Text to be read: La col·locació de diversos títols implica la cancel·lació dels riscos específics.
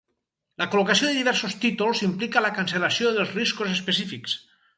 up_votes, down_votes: 4, 0